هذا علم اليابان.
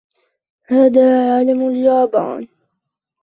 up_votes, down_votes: 2, 1